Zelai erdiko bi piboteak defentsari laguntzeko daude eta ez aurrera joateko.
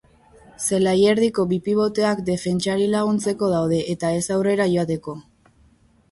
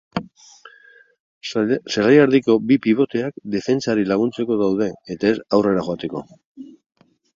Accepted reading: first